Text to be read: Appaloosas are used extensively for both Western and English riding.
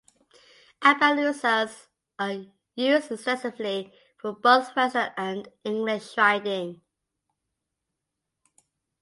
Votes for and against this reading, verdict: 0, 2, rejected